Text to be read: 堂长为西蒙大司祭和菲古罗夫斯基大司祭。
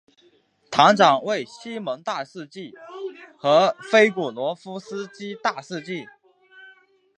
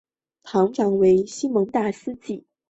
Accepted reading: first